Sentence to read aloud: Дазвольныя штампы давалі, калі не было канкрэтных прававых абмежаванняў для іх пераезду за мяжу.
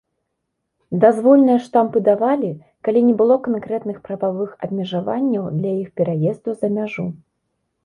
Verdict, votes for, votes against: accepted, 2, 0